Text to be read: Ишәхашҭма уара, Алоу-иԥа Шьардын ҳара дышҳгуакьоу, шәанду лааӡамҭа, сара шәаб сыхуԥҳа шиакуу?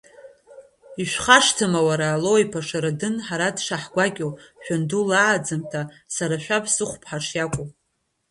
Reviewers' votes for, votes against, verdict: 0, 2, rejected